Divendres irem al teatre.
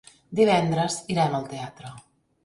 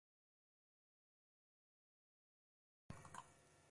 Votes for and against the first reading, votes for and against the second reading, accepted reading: 3, 1, 1, 2, first